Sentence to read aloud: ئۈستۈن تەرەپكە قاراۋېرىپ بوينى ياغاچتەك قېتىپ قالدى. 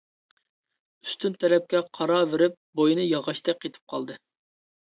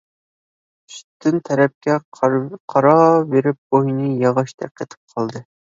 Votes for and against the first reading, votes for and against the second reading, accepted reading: 2, 0, 0, 2, first